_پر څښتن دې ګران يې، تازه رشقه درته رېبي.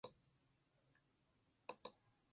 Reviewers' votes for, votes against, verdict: 1, 2, rejected